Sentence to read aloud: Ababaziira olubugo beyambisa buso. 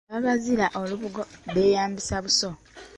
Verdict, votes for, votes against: accepted, 2, 1